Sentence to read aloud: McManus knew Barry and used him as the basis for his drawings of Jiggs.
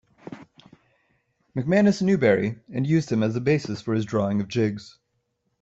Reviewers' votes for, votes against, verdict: 1, 2, rejected